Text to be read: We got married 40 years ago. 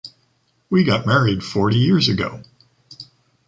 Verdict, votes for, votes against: rejected, 0, 2